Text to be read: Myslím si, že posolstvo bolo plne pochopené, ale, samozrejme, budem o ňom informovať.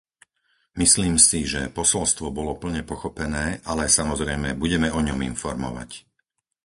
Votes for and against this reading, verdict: 0, 4, rejected